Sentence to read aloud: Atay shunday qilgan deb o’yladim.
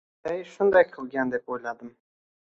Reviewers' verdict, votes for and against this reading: rejected, 1, 2